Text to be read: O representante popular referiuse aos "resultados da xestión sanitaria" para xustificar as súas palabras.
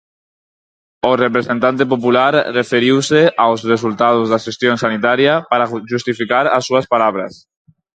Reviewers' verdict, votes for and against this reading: rejected, 0, 4